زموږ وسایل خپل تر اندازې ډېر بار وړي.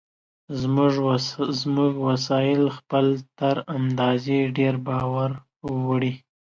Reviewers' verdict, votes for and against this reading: rejected, 1, 2